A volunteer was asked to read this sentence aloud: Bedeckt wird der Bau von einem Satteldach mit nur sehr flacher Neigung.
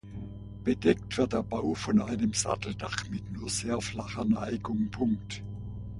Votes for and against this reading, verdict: 0, 2, rejected